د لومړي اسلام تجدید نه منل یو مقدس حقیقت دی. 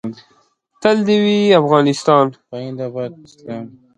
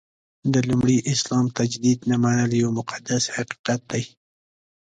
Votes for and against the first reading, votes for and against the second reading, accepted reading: 0, 2, 2, 1, second